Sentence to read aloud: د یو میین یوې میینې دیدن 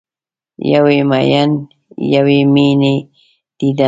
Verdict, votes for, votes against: rejected, 0, 2